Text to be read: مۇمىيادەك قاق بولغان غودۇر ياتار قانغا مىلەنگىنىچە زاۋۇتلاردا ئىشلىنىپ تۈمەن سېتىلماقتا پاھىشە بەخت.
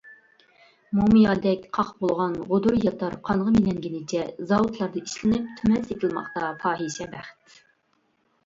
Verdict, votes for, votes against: rejected, 1, 2